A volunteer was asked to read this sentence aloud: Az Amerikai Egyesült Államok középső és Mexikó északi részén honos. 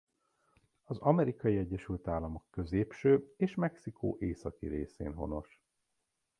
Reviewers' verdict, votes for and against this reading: accepted, 2, 0